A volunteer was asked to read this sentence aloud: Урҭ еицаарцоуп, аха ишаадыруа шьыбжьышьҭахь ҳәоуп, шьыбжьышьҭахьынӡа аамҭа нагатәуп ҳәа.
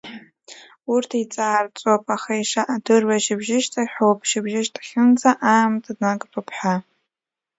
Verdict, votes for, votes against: rejected, 0, 2